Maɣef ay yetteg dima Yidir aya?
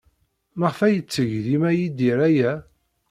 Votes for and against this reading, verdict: 2, 0, accepted